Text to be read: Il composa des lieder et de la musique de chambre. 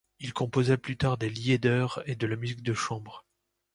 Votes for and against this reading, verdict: 0, 2, rejected